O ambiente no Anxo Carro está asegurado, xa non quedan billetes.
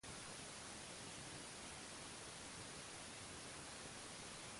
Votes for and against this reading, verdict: 0, 2, rejected